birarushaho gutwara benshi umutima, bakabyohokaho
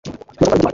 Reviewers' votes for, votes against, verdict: 0, 2, rejected